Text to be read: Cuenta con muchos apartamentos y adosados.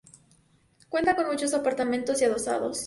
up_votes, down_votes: 2, 0